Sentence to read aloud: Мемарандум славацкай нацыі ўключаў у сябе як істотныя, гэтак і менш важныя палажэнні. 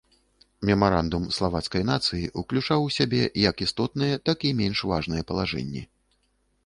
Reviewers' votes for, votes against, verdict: 1, 2, rejected